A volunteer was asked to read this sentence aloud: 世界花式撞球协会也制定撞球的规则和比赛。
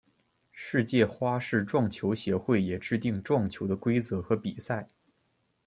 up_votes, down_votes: 2, 0